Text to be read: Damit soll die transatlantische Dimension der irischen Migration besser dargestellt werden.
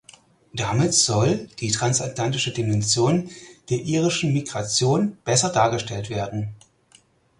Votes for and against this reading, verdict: 4, 0, accepted